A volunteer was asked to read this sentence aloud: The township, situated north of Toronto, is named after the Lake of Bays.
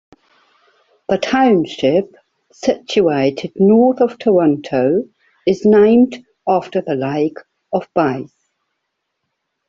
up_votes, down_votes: 2, 0